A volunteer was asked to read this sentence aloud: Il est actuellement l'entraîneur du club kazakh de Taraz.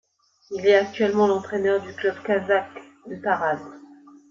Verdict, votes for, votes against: accepted, 2, 0